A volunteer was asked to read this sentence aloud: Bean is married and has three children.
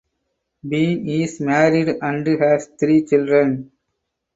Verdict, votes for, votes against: rejected, 2, 4